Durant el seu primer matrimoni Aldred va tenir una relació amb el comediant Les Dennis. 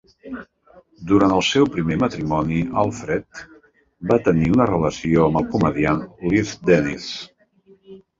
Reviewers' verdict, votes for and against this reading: rejected, 0, 2